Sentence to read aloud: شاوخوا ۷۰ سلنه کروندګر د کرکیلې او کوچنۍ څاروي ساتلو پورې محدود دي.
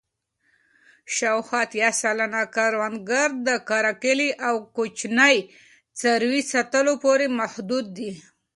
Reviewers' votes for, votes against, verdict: 0, 2, rejected